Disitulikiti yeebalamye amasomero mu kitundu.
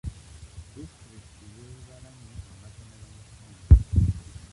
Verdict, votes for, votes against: rejected, 0, 2